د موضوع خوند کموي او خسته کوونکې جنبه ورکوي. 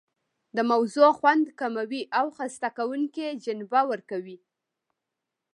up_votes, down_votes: 1, 2